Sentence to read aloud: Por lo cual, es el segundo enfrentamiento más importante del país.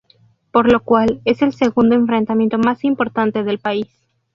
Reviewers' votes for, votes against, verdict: 2, 2, rejected